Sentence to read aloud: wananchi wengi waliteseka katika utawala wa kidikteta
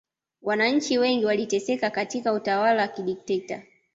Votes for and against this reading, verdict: 2, 0, accepted